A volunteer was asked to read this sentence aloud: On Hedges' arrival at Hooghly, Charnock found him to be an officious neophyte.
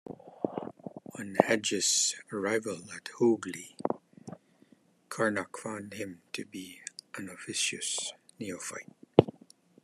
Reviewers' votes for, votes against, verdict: 1, 2, rejected